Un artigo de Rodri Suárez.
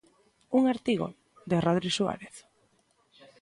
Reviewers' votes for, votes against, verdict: 2, 0, accepted